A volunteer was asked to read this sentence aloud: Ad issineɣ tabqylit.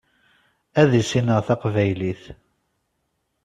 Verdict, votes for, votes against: accepted, 2, 0